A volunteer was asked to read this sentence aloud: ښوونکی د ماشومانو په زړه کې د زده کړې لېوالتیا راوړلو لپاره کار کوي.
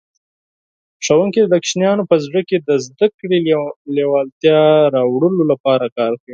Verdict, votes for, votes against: rejected, 4, 6